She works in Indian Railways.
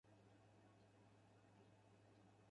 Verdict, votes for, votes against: rejected, 0, 4